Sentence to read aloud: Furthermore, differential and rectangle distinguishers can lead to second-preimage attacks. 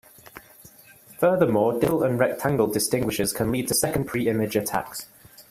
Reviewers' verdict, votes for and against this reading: rejected, 1, 2